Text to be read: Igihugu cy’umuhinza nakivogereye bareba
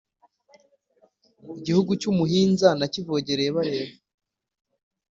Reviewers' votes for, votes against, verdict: 2, 1, accepted